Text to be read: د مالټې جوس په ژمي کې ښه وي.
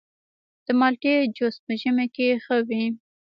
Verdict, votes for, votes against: rejected, 1, 2